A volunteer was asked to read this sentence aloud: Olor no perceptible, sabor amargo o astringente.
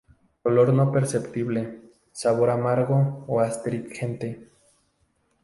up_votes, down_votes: 0, 2